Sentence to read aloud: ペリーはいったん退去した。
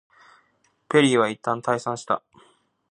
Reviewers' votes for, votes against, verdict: 1, 2, rejected